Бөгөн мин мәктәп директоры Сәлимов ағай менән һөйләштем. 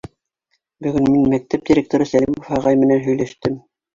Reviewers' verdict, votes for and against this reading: rejected, 1, 3